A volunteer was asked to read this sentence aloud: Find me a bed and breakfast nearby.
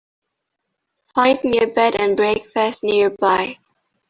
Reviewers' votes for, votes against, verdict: 2, 1, accepted